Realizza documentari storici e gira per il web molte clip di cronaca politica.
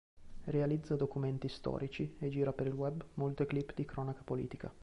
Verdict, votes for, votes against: rejected, 0, 2